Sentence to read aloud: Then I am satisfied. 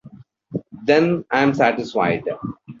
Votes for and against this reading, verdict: 2, 0, accepted